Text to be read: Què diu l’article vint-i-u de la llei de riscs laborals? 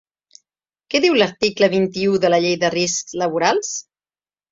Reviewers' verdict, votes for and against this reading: accepted, 2, 1